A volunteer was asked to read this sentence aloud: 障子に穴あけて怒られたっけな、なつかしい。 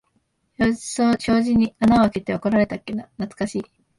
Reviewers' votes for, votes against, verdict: 2, 0, accepted